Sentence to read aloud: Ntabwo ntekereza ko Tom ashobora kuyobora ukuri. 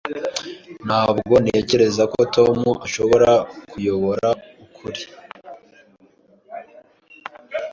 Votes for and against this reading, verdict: 2, 0, accepted